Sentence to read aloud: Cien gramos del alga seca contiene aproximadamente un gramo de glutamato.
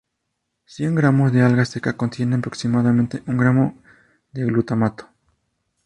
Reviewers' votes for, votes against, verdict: 0, 2, rejected